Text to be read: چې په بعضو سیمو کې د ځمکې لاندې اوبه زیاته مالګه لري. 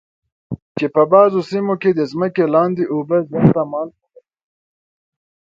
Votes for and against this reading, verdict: 0, 2, rejected